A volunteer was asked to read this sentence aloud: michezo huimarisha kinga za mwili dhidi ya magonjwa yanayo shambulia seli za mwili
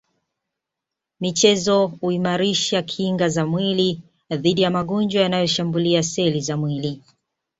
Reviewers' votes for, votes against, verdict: 2, 0, accepted